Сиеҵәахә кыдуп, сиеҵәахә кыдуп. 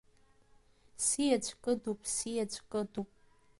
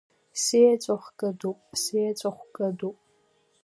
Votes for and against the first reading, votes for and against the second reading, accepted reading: 0, 2, 2, 0, second